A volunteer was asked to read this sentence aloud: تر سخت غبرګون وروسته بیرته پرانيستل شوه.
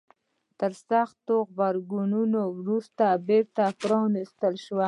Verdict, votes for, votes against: accepted, 2, 1